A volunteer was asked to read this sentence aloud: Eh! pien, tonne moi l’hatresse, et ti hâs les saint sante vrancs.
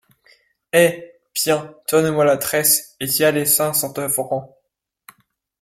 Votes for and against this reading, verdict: 0, 2, rejected